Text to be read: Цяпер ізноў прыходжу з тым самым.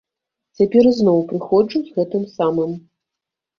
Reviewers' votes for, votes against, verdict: 1, 2, rejected